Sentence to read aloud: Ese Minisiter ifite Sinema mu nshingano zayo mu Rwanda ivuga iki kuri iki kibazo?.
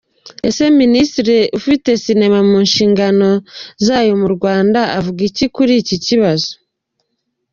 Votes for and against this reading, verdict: 1, 2, rejected